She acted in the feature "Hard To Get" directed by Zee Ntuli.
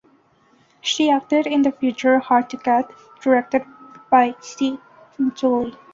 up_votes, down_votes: 2, 0